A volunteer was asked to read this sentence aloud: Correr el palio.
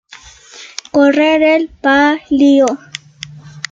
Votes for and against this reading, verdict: 1, 2, rejected